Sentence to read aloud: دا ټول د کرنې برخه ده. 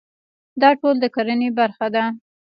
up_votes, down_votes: 1, 2